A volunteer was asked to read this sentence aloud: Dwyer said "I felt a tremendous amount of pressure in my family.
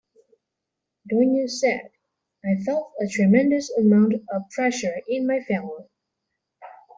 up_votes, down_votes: 1, 2